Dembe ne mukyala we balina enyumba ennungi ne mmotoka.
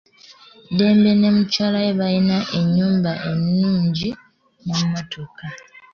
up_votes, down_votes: 1, 2